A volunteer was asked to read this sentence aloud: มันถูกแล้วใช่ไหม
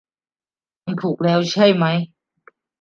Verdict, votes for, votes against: accepted, 2, 1